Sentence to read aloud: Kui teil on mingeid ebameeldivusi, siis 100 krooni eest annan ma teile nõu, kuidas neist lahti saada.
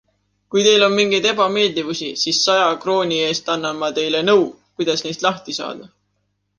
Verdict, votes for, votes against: rejected, 0, 2